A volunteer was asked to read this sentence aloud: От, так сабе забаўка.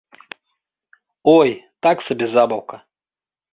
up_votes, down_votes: 0, 2